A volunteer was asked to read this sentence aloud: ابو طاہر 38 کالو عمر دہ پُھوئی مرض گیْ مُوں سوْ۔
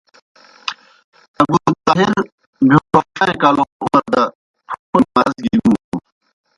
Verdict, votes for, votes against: rejected, 0, 2